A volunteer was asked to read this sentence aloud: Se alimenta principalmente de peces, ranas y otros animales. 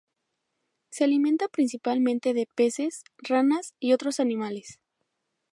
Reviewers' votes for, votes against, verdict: 2, 0, accepted